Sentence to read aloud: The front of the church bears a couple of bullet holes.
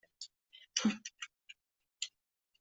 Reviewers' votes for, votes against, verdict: 0, 2, rejected